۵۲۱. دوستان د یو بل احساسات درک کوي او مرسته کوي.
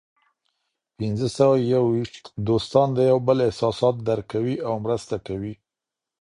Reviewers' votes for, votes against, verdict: 0, 2, rejected